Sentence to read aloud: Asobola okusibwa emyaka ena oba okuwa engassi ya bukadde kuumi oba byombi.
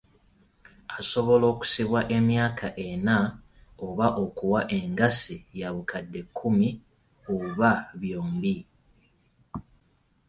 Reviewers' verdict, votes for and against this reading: accepted, 2, 0